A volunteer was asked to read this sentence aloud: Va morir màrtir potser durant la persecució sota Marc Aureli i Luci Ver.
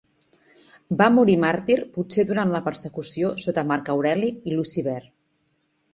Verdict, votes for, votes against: accepted, 2, 0